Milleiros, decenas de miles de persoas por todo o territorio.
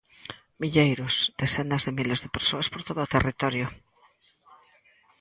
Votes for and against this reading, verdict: 2, 0, accepted